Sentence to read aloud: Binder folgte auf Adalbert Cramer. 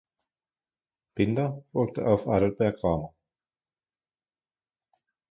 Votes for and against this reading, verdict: 2, 1, accepted